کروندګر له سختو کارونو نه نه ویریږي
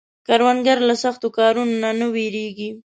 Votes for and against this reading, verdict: 2, 0, accepted